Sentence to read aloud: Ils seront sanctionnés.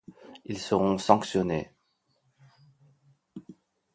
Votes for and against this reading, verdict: 2, 0, accepted